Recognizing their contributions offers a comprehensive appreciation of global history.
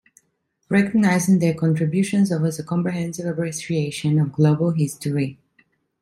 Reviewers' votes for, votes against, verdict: 2, 1, accepted